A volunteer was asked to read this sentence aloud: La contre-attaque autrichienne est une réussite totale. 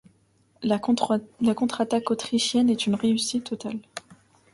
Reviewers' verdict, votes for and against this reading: rejected, 1, 2